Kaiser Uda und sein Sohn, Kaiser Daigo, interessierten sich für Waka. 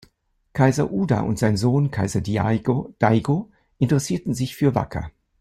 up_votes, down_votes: 1, 2